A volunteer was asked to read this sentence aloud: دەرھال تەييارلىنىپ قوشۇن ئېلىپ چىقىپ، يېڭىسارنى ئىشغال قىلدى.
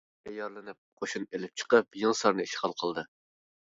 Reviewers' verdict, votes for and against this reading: rejected, 0, 2